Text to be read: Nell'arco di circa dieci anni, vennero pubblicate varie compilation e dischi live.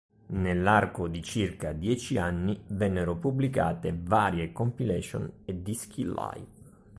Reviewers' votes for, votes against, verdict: 2, 0, accepted